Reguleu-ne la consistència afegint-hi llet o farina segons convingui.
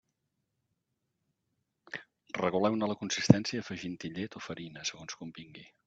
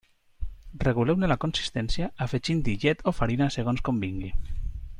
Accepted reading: second